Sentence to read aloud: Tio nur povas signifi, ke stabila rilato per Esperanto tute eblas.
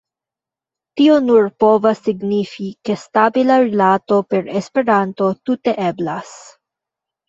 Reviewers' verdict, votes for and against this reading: rejected, 0, 2